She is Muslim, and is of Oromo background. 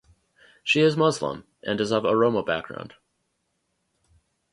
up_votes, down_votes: 2, 0